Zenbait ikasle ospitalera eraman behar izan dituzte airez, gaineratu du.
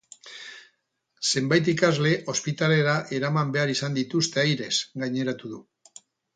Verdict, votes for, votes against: rejected, 0, 2